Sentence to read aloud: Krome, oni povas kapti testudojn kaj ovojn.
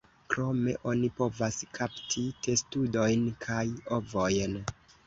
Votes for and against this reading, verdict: 2, 0, accepted